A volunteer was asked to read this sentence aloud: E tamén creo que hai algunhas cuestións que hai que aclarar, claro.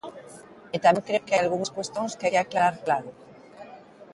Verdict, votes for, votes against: rejected, 4, 17